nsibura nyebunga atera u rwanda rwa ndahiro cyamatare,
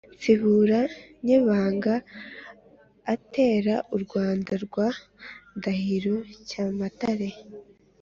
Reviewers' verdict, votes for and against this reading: accepted, 3, 0